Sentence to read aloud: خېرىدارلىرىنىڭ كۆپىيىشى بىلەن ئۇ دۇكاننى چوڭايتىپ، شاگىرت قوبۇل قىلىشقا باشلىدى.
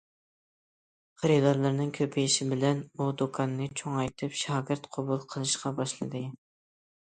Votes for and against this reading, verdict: 2, 0, accepted